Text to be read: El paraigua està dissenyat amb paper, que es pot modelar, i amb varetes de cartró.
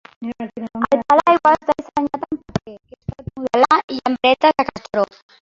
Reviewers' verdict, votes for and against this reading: rejected, 0, 3